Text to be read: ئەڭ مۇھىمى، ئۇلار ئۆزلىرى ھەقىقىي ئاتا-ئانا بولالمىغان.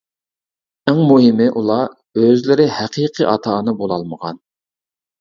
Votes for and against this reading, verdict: 2, 0, accepted